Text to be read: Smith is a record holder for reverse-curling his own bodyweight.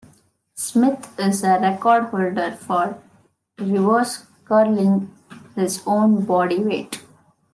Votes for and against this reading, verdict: 2, 0, accepted